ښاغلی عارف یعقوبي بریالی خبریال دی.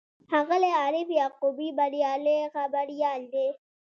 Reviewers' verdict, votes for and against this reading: accepted, 2, 0